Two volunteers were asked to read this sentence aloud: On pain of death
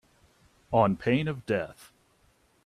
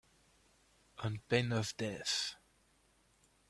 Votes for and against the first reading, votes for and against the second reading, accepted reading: 2, 0, 1, 2, first